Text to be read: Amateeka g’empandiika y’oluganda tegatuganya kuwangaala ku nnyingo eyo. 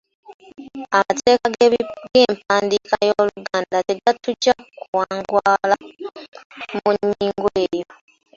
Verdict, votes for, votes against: rejected, 0, 2